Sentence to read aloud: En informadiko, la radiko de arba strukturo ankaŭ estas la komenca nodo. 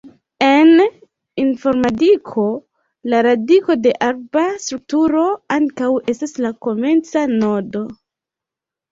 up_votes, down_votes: 1, 2